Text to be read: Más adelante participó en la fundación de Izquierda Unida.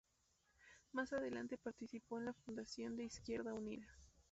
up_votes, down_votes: 2, 0